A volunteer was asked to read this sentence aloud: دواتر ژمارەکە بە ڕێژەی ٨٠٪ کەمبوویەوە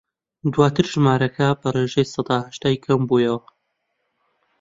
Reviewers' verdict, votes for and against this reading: rejected, 0, 2